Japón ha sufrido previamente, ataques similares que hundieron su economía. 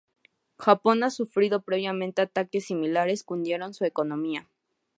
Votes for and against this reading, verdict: 2, 0, accepted